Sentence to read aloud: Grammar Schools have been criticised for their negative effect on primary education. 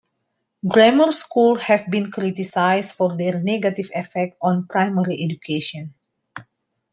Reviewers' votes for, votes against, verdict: 2, 1, accepted